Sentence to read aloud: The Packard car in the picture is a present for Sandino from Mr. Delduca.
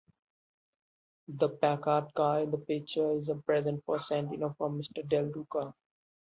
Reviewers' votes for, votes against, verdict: 1, 2, rejected